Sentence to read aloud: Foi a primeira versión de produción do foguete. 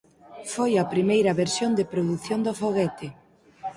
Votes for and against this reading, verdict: 4, 0, accepted